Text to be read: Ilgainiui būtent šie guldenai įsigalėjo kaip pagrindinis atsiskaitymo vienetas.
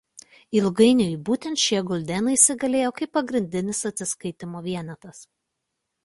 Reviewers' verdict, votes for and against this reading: accepted, 2, 0